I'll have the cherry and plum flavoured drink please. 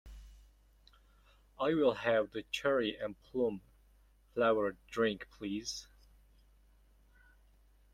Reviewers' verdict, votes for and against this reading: rejected, 0, 2